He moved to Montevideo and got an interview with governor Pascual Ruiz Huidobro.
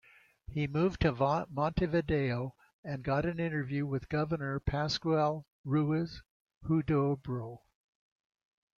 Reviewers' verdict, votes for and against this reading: rejected, 0, 2